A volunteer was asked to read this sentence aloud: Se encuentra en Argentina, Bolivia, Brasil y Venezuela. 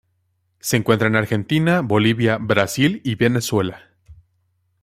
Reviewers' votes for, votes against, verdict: 2, 1, accepted